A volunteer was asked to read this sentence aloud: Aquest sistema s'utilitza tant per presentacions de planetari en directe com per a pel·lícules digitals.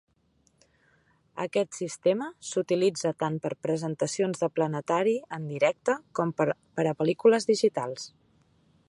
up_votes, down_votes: 5, 0